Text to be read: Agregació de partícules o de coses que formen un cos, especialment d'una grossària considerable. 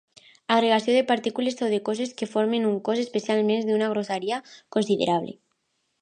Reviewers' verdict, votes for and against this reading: accepted, 2, 0